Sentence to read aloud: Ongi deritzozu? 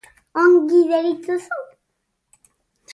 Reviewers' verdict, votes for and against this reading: accepted, 2, 0